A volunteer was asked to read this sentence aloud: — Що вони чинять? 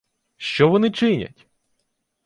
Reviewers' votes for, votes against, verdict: 2, 0, accepted